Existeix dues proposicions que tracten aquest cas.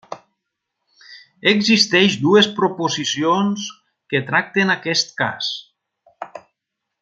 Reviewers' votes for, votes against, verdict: 3, 0, accepted